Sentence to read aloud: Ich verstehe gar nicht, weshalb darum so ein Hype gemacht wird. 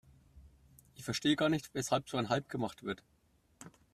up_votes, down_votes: 0, 2